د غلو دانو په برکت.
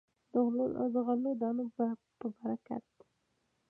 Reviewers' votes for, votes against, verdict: 2, 1, accepted